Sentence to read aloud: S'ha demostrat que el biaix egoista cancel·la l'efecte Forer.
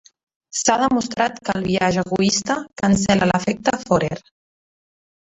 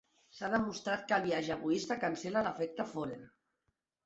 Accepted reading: second